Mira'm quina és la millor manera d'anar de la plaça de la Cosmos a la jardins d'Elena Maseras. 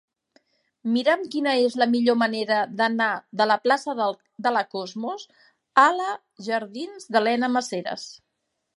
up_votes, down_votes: 0, 2